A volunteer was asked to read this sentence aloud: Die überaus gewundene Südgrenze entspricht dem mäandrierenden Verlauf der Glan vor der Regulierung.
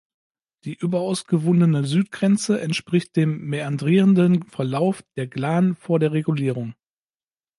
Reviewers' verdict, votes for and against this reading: accepted, 2, 0